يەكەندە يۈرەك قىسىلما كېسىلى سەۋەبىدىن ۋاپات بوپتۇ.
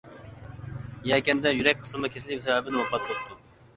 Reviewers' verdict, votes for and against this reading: rejected, 1, 2